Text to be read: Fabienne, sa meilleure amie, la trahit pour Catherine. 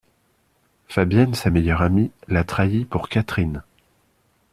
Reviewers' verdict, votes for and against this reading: accepted, 2, 0